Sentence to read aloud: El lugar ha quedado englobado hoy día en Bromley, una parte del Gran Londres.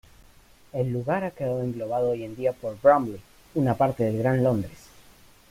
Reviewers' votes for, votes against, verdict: 1, 2, rejected